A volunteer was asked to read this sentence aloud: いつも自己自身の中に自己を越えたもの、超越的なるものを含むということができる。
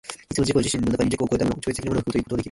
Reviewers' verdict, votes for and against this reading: rejected, 1, 2